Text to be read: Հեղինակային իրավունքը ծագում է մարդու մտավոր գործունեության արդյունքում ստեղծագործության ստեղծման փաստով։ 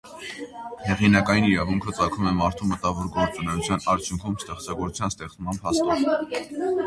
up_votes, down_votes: 0, 2